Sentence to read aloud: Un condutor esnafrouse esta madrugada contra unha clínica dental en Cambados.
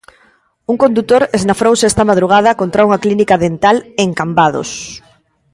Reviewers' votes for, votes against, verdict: 2, 0, accepted